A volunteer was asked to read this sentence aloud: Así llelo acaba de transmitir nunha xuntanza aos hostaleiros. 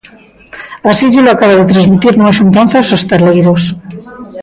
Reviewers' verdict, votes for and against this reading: rejected, 0, 2